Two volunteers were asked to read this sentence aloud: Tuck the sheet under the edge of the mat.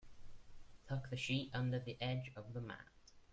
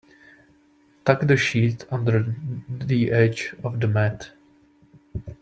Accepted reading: first